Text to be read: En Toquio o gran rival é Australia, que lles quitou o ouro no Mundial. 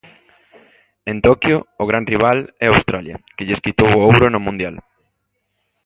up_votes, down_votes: 2, 0